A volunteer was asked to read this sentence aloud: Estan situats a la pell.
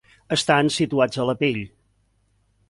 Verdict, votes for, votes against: accepted, 2, 0